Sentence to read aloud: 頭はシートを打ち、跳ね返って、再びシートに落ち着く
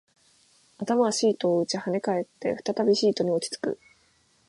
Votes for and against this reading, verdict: 2, 0, accepted